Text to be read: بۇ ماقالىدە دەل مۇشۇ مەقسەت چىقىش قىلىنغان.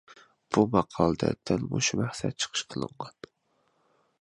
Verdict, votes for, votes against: accepted, 2, 1